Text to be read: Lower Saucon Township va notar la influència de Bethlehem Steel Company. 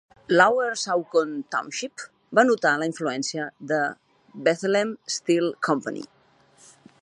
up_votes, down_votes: 2, 0